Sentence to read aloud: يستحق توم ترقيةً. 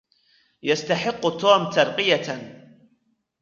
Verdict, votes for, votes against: accepted, 2, 0